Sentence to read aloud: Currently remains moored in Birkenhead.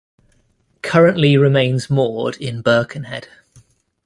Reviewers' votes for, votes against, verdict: 2, 0, accepted